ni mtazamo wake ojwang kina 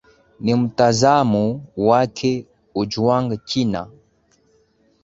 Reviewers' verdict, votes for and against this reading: accepted, 9, 3